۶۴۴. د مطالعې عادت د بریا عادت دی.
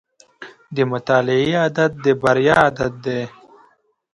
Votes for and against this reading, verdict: 0, 2, rejected